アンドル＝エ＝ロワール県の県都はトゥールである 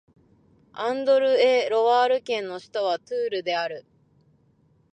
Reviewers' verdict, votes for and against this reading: rejected, 0, 2